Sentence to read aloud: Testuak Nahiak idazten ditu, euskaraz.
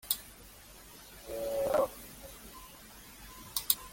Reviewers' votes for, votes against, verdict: 0, 2, rejected